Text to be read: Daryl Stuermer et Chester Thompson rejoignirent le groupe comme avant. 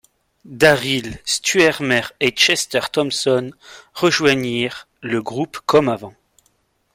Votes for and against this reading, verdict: 2, 0, accepted